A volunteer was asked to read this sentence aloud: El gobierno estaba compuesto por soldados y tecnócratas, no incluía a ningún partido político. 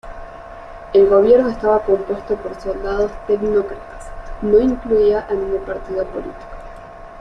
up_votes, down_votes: 1, 2